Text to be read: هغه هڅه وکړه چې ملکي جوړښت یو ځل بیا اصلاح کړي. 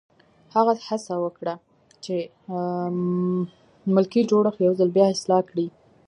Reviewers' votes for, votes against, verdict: 0, 2, rejected